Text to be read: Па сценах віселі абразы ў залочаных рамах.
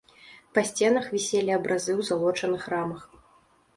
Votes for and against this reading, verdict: 2, 0, accepted